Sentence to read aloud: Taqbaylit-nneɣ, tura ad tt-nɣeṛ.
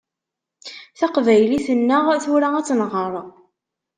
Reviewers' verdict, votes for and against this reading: accepted, 2, 0